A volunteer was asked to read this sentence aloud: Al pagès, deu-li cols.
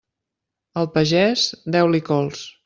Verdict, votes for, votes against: accepted, 3, 0